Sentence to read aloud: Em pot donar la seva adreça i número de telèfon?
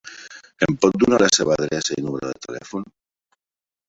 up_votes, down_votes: 0, 3